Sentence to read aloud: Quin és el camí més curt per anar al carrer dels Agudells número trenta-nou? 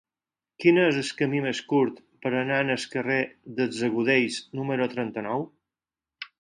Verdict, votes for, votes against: accepted, 4, 2